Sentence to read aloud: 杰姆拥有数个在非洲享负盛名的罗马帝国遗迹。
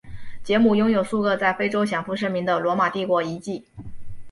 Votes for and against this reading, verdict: 2, 0, accepted